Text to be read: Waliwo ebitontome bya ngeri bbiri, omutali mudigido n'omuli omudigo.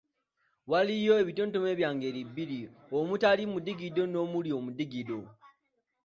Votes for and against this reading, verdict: 2, 0, accepted